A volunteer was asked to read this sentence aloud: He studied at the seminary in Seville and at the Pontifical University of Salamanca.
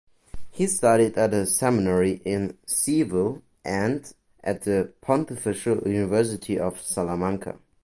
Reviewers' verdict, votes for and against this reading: accepted, 2, 1